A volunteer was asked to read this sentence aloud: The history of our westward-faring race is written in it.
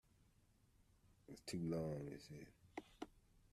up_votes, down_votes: 0, 2